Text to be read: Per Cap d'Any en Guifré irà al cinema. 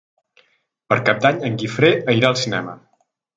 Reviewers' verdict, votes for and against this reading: accepted, 2, 0